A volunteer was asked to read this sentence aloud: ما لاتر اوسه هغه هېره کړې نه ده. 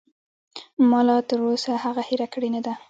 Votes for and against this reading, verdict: 2, 1, accepted